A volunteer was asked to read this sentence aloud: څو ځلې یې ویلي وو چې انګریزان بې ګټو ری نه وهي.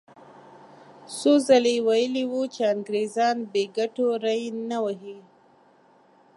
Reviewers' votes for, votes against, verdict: 2, 0, accepted